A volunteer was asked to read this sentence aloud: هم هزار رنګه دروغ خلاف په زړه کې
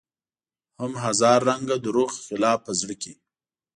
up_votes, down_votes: 1, 2